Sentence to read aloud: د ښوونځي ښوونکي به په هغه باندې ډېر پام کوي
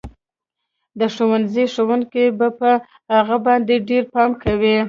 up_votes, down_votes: 2, 0